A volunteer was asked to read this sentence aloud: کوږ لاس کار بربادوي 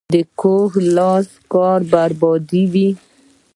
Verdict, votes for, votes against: rejected, 0, 2